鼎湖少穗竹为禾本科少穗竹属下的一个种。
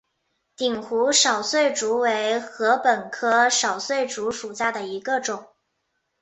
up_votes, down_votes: 2, 0